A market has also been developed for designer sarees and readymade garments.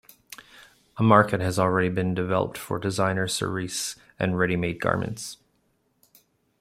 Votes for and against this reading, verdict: 0, 2, rejected